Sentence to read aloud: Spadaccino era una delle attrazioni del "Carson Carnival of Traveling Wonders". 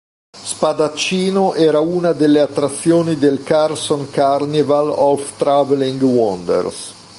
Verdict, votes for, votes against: accepted, 2, 0